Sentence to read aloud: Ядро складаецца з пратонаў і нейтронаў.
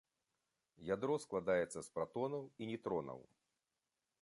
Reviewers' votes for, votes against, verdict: 2, 0, accepted